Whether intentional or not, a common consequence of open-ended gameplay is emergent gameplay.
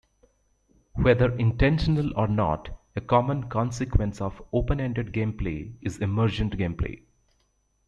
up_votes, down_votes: 2, 0